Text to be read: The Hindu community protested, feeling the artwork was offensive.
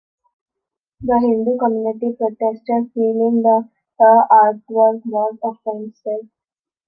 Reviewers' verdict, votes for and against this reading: rejected, 0, 2